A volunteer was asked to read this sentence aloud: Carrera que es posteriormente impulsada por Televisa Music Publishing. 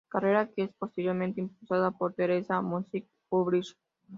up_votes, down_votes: 0, 3